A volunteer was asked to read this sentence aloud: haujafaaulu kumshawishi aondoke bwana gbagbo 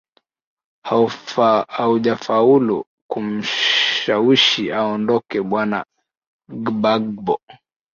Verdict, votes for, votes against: rejected, 0, 2